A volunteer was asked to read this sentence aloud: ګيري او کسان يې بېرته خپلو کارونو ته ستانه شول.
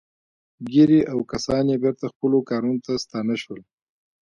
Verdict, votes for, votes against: accepted, 2, 0